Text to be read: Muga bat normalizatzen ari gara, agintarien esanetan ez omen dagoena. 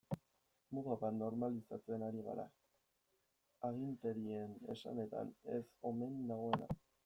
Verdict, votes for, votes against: rejected, 1, 2